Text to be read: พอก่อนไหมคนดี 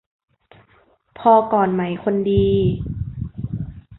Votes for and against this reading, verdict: 2, 0, accepted